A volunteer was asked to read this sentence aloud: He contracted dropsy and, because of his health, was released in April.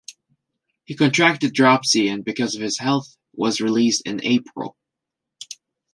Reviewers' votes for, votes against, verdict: 2, 0, accepted